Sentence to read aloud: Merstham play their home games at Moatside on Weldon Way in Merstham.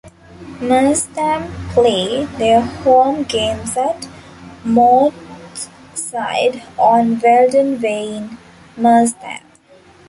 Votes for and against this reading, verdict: 1, 2, rejected